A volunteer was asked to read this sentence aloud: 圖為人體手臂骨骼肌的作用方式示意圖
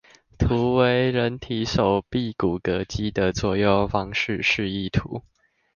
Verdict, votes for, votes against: accepted, 2, 0